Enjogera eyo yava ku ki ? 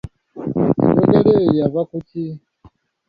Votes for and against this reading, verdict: 2, 0, accepted